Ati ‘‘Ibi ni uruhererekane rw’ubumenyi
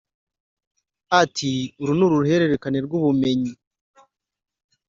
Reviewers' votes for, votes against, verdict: 1, 2, rejected